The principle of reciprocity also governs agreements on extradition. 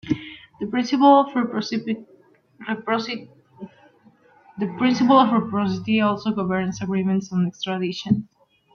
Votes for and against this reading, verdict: 1, 2, rejected